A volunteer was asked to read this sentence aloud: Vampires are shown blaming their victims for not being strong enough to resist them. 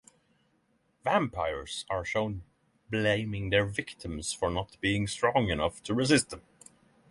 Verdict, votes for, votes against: accepted, 6, 0